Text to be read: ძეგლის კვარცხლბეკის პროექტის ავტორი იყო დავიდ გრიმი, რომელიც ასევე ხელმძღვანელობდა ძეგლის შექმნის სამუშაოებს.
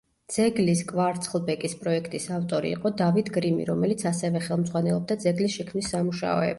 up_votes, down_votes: 0, 3